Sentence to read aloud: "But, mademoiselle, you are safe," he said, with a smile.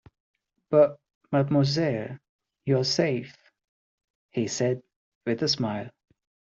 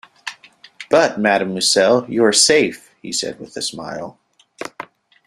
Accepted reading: first